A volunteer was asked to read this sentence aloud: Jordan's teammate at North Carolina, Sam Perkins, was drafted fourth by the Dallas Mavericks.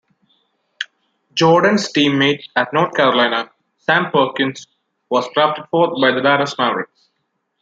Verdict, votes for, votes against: accepted, 2, 0